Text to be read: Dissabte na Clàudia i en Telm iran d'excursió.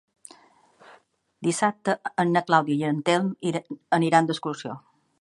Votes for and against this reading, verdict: 0, 2, rejected